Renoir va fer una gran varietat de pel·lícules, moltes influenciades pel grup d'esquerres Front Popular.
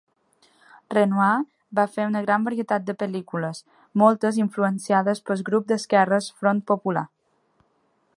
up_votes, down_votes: 1, 2